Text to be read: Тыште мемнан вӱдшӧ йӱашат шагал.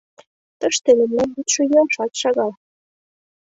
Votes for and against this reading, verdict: 2, 0, accepted